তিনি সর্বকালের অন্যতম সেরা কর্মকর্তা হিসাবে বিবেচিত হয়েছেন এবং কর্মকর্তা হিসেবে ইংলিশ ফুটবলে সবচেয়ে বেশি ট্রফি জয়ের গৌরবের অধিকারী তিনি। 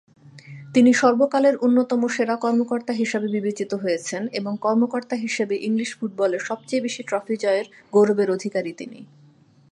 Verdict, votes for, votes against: accepted, 2, 0